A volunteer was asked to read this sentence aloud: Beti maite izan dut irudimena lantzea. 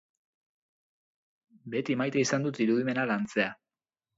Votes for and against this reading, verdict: 4, 0, accepted